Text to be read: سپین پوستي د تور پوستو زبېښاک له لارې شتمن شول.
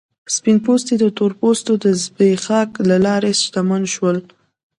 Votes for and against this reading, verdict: 2, 1, accepted